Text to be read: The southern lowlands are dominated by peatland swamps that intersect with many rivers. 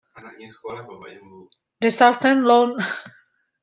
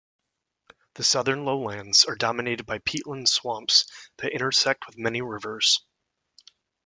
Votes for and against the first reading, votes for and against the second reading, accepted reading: 0, 2, 2, 1, second